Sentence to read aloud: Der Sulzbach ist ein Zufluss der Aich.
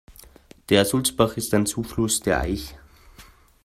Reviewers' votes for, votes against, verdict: 2, 0, accepted